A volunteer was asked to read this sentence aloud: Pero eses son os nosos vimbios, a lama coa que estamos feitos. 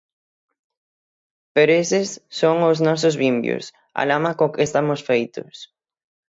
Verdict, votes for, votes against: accepted, 6, 3